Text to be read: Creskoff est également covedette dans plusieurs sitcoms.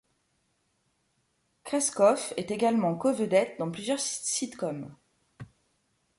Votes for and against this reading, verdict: 1, 2, rejected